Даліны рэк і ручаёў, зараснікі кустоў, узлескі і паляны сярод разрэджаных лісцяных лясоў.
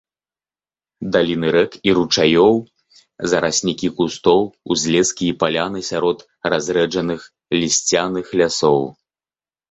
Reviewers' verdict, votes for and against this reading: accepted, 2, 1